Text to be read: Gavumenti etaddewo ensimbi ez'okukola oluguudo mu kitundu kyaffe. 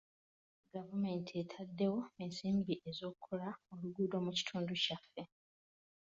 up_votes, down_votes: 2, 0